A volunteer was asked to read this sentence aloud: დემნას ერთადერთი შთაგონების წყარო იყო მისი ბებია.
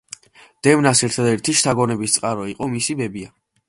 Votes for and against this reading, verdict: 2, 0, accepted